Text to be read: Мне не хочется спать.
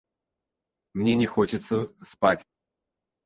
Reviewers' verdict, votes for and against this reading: rejected, 0, 4